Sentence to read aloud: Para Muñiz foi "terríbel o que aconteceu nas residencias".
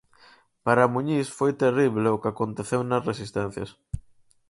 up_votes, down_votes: 0, 4